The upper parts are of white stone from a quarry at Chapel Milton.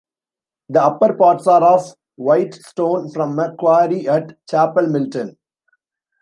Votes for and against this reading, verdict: 1, 2, rejected